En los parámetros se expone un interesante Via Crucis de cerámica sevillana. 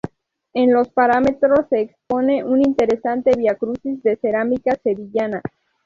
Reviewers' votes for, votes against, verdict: 0, 2, rejected